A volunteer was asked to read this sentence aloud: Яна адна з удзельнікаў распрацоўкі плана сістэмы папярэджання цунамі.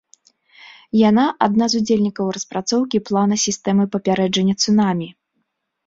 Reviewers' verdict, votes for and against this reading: accepted, 2, 0